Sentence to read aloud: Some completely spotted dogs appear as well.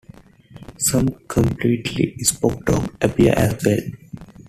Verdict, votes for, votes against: rejected, 1, 2